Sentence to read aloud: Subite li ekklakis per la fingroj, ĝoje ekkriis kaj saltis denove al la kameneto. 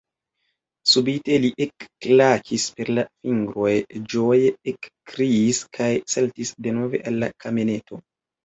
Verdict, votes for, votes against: rejected, 0, 2